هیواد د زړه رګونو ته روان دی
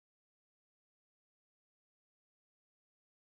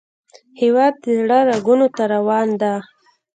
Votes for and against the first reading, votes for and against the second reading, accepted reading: 1, 3, 2, 0, second